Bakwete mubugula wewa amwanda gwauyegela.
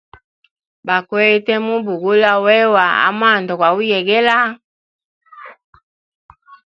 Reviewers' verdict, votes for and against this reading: accepted, 2, 0